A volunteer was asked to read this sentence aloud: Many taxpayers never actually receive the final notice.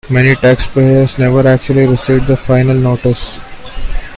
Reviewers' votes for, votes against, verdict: 2, 0, accepted